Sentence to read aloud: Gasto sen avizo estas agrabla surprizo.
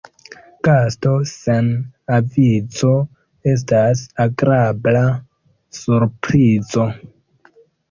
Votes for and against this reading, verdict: 2, 0, accepted